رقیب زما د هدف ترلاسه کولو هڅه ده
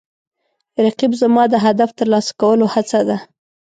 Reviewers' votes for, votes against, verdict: 2, 0, accepted